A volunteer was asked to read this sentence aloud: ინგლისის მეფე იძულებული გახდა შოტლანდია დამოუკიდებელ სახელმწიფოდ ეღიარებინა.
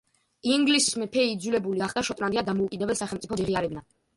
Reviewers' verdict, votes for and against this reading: rejected, 1, 2